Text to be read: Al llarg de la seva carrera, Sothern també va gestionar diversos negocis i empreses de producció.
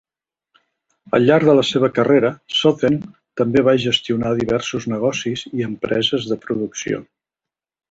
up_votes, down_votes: 1, 2